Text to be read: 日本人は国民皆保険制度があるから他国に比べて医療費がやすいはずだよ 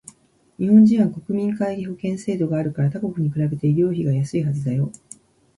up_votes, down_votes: 2, 0